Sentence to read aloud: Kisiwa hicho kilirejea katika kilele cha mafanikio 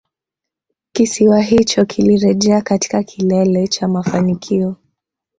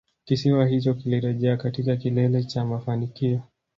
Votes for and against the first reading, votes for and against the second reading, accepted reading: 2, 1, 0, 2, first